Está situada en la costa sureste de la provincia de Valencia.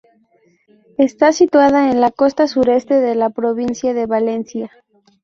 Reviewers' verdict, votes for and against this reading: accepted, 2, 0